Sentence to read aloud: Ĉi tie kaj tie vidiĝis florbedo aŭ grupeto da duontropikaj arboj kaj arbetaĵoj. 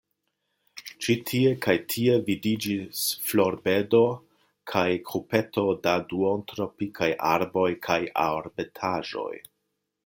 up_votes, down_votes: 0, 2